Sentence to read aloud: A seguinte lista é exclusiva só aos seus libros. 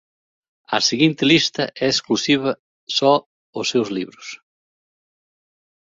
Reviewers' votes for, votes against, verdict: 1, 2, rejected